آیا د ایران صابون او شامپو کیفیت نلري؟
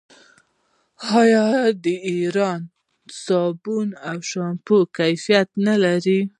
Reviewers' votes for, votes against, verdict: 1, 2, rejected